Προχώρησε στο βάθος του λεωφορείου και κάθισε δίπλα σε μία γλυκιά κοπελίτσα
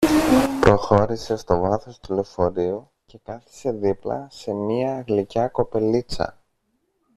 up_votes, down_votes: 0, 2